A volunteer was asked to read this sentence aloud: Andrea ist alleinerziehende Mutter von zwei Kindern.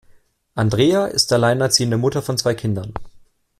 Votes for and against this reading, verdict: 2, 0, accepted